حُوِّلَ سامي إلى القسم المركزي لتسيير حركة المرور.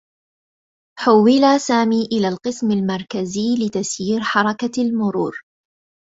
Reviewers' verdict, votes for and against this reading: rejected, 1, 2